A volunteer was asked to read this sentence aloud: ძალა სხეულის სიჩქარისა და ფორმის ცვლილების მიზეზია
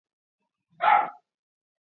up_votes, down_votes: 0, 2